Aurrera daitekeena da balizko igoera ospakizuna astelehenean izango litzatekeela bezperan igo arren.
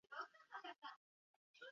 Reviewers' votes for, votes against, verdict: 0, 2, rejected